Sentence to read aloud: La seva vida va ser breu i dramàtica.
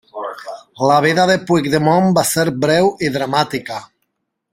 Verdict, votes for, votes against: rejected, 0, 2